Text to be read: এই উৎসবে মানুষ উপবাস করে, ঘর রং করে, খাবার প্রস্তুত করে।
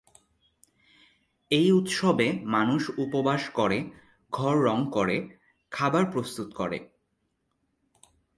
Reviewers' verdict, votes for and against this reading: accepted, 2, 0